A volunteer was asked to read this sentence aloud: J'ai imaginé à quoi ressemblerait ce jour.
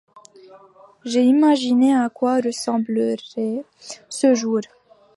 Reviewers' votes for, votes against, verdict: 2, 0, accepted